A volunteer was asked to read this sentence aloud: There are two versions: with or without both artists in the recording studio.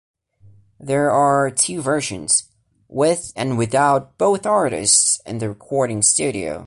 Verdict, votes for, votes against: rejected, 1, 2